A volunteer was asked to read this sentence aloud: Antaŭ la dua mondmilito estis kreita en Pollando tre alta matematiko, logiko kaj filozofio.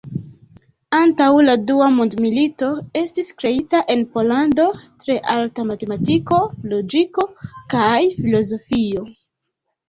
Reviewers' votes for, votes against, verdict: 1, 2, rejected